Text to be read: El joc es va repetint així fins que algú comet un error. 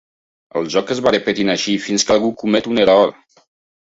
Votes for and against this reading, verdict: 2, 0, accepted